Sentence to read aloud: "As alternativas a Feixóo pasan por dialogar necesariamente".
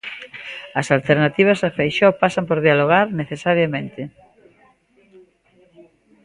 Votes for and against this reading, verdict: 2, 0, accepted